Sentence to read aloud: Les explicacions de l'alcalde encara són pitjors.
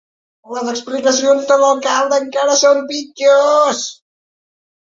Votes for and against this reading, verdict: 2, 4, rejected